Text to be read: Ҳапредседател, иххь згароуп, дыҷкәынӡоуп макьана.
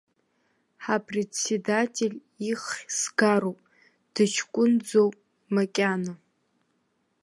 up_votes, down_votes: 1, 2